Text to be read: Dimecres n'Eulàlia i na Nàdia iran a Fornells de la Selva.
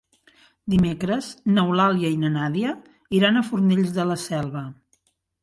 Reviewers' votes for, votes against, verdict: 3, 0, accepted